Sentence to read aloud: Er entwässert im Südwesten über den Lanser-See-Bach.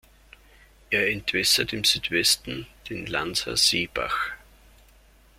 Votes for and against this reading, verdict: 0, 2, rejected